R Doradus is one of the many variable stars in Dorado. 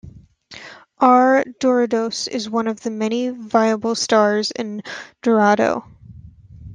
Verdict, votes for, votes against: accepted, 2, 1